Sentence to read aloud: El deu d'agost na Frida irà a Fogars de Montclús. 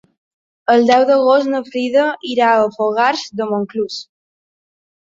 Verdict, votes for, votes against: accepted, 5, 0